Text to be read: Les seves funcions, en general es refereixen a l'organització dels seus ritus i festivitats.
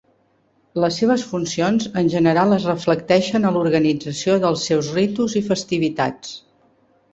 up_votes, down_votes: 0, 2